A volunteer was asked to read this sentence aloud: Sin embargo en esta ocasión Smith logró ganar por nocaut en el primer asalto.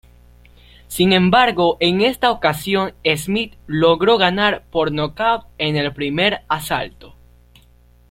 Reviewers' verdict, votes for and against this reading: accepted, 2, 0